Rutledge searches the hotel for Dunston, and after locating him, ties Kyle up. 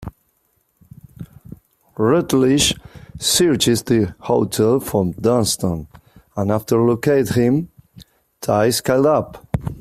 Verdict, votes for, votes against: rejected, 0, 3